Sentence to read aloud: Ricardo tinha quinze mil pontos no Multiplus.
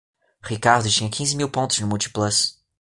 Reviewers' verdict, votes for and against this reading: accepted, 2, 0